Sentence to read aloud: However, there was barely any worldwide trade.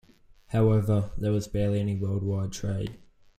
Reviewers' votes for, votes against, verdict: 2, 0, accepted